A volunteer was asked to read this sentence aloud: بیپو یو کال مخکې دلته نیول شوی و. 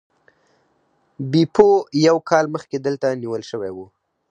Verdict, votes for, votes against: accepted, 4, 0